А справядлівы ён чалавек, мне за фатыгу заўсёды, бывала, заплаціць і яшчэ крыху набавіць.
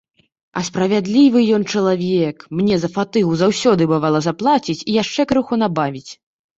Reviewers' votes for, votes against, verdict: 2, 0, accepted